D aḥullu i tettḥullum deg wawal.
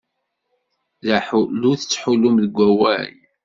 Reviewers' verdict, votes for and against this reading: accepted, 2, 0